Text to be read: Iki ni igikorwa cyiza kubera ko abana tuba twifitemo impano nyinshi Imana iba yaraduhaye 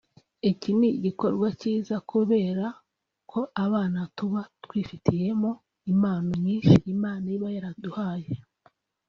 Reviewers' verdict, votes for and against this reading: rejected, 1, 2